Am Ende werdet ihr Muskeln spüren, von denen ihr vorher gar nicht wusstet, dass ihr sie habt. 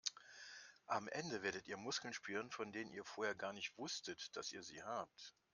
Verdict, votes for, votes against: accepted, 2, 0